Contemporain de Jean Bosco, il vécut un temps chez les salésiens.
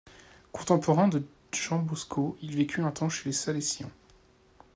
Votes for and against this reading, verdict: 1, 2, rejected